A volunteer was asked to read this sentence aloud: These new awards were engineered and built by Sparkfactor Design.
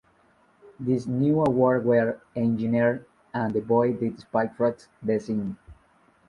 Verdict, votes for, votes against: rejected, 0, 2